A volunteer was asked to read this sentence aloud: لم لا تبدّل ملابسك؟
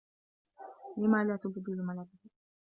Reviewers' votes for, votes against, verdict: 1, 2, rejected